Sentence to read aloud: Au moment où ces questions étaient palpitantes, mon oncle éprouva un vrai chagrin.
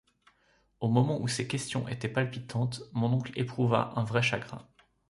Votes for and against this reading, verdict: 1, 2, rejected